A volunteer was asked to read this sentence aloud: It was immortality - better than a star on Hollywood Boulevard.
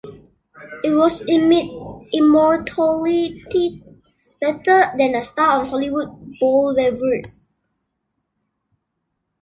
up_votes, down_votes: 1, 2